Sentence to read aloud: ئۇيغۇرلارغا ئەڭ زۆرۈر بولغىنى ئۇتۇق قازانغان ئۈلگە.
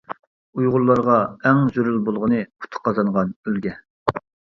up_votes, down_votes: 1, 2